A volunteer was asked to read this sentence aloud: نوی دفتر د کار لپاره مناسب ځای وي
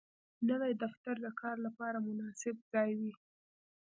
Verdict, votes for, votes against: rejected, 1, 2